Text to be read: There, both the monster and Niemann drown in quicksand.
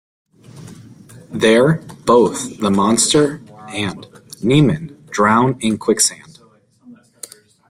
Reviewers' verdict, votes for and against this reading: accepted, 2, 1